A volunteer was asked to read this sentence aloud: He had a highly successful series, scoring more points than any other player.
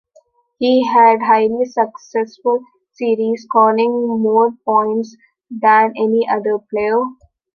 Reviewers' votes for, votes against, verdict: 1, 2, rejected